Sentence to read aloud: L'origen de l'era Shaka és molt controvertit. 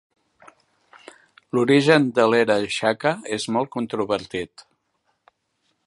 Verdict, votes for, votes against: accepted, 2, 0